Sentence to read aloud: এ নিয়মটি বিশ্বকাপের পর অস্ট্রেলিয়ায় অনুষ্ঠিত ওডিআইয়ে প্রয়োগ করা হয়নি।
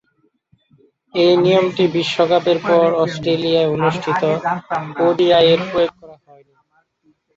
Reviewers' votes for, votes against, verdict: 1, 2, rejected